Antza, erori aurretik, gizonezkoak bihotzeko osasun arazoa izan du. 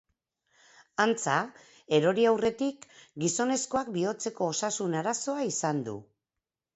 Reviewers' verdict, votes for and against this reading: accepted, 2, 0